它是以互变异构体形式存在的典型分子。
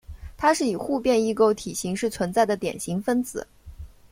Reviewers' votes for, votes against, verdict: 2, 0, accepted